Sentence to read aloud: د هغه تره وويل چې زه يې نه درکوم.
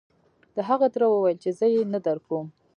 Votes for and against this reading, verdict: 2, 1, accepted